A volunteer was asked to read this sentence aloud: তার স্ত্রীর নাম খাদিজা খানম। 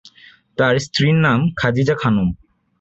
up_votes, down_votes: 2, 0